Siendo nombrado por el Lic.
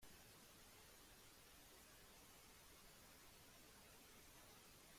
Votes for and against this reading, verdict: 0, 2, rejected